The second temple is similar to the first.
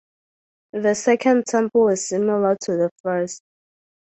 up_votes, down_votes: 2, 2